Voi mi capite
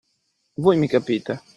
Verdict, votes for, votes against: accepted, 2, 0